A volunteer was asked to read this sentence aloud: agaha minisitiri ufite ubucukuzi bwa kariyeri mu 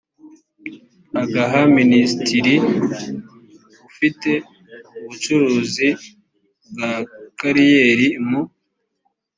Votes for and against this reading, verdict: 1, 2, rejected